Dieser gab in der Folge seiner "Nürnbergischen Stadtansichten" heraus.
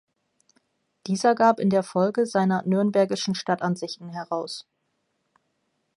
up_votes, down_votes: 2, 0